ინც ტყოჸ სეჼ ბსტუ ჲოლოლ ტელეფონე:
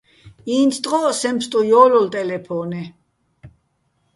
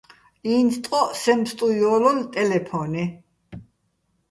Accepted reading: first